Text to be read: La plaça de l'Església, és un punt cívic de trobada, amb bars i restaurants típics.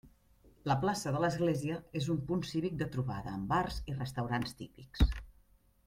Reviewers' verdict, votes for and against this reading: accepted, 3, 0